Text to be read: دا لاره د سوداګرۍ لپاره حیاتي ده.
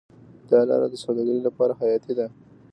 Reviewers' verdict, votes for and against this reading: rejected, 1, 2